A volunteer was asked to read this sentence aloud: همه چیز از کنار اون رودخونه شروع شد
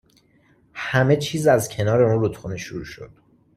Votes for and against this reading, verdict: 2, 1, accepted